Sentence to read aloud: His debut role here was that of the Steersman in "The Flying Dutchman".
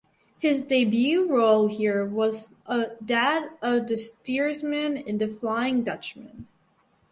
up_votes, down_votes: 0, 4